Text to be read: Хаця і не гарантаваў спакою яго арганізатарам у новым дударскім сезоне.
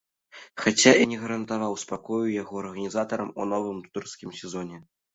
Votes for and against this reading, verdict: 0, 2, rejected